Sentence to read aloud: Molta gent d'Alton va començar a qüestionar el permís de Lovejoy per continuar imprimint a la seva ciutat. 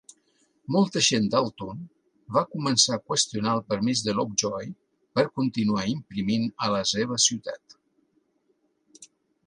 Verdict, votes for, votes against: accepted, 2, 0